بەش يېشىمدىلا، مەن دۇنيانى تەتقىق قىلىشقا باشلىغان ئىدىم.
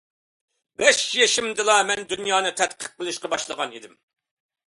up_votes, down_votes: 2, 0